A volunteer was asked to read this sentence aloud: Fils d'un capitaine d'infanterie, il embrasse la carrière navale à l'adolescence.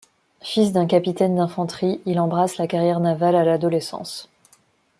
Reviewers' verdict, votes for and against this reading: rejected, 1, 2